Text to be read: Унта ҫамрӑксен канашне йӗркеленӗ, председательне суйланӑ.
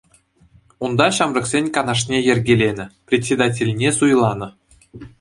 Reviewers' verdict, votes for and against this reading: accepted, 2, 0